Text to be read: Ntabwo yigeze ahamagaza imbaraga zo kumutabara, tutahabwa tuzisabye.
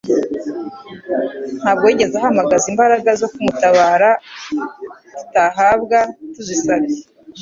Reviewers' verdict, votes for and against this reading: accepted, 2, 0